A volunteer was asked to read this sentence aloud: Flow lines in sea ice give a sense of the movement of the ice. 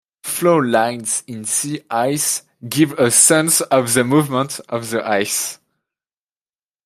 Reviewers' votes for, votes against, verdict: 2, 0, accepted